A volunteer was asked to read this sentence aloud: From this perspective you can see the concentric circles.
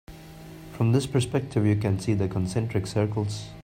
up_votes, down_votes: 2, 0